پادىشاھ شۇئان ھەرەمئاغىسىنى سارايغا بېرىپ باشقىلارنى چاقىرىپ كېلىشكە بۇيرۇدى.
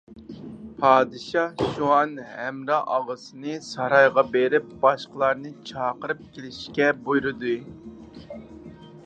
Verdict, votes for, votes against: rejected, 0, 4